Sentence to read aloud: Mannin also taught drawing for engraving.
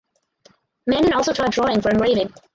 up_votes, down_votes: 0, 4